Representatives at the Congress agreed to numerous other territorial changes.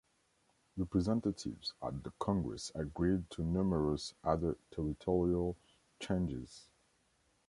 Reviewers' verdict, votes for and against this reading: accepted, 2, 1